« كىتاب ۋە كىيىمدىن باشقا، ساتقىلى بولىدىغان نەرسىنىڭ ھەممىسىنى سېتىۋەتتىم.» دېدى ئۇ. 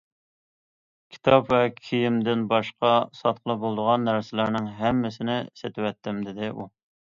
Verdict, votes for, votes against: rejected, 0, 2